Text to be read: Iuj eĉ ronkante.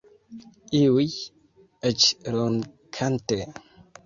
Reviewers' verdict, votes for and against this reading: rejected, 2, 3